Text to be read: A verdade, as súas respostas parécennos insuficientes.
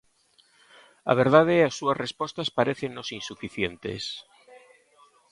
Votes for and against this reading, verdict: 2, 0, accepted